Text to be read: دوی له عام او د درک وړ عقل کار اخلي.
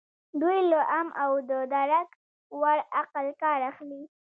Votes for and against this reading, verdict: 2, 0, accepted